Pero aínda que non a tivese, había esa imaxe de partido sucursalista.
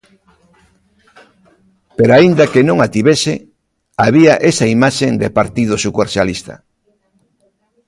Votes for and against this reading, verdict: 0, 2, rejected